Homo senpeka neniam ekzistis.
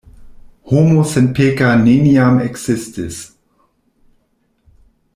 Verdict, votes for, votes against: rejected, 1, 2